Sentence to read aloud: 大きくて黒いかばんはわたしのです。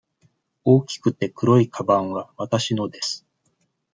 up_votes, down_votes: 2, 0